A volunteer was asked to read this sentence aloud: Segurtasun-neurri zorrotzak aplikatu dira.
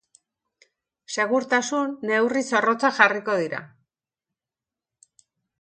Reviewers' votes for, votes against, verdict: 0, 2, rejected